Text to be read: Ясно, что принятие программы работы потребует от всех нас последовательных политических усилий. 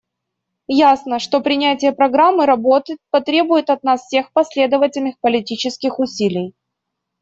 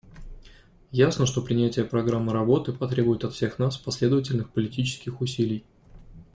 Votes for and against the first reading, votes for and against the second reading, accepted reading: 1, 2, 2, 0, second